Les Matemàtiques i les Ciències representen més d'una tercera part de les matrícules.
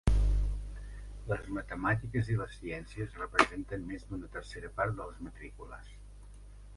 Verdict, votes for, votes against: rejected, 0, 2